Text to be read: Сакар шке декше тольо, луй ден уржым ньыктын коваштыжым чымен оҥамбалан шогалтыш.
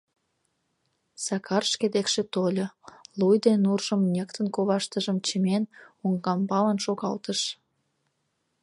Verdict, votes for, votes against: rejected, 1, 2